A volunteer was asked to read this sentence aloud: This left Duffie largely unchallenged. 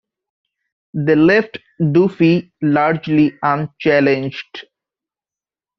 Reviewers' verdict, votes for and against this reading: rejected, 0, 2